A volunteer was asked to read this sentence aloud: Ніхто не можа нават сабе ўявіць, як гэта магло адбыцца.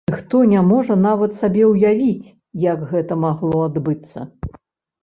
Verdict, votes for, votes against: rejected, 0, 2